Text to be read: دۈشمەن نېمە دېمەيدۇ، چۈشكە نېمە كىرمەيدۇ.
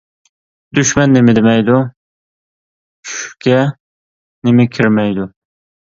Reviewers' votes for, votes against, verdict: 2, 0, accepted